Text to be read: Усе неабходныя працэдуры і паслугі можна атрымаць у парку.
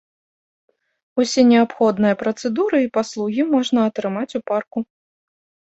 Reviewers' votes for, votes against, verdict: 2, 0, accepted